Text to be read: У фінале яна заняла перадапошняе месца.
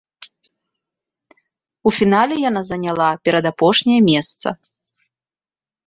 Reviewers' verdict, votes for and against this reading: accepted, 2, 0